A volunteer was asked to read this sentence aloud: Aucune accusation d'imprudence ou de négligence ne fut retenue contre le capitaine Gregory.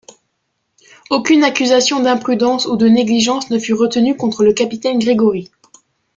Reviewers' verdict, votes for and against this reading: accepted, 2, 1